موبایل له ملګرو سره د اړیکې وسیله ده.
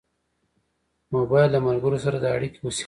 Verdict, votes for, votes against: accepted, 2, 0